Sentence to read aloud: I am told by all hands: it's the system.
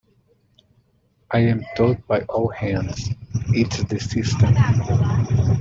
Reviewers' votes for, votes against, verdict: 2, 0, accepted